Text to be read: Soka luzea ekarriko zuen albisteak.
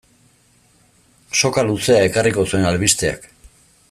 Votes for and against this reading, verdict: 2, 0, accepted